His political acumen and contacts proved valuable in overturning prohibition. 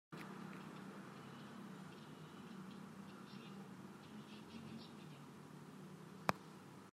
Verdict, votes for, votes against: rejected, 0, 2